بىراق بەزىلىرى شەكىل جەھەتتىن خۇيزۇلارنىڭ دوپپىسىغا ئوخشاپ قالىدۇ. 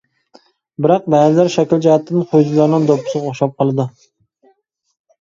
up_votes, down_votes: 1, 2